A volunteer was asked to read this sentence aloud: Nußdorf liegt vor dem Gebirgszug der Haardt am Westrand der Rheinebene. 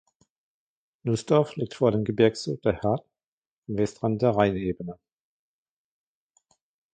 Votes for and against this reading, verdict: 1, 2, rejected